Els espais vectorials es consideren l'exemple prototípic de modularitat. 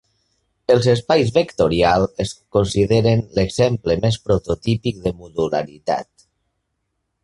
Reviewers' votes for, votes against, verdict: 0, 2, rejected